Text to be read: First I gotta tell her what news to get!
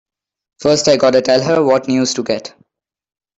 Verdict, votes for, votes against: accepted, 2, 0